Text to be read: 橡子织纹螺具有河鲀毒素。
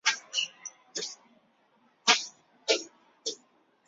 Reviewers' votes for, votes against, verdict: 0, 5, rejected